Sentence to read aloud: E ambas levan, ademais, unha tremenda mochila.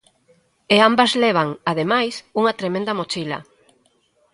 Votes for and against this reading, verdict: 2, 1, accepted